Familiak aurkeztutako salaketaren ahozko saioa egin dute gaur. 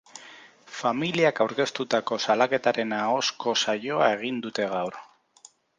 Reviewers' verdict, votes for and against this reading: accepted, 4, 0